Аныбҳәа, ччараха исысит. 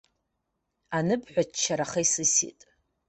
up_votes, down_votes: 2, 0